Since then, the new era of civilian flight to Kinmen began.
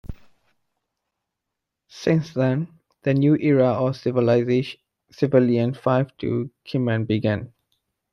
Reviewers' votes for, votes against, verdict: 0, 2, rejected